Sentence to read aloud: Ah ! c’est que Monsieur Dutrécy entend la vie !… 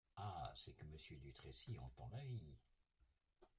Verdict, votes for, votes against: rejected, 1, 2